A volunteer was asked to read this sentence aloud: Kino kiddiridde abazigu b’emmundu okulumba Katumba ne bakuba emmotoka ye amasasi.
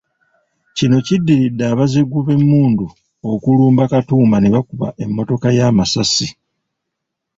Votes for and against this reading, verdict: 3, 1, accepted